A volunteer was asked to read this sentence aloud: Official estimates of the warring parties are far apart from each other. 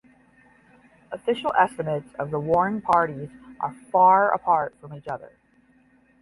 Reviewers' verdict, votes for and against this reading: rejected, 5, 5